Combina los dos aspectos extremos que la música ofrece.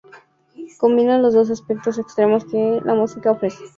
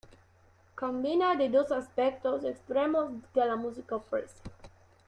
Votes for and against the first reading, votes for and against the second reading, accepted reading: 2, 0, 1, 2, first